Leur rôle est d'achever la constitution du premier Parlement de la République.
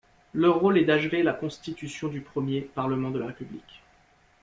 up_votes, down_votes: 0, 2